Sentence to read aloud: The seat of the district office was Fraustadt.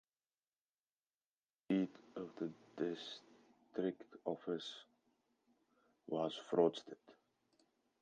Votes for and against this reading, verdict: 0, 2, rejected